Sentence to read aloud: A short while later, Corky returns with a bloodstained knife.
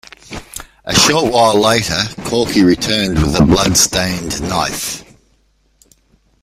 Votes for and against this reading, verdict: 2, 0, accepted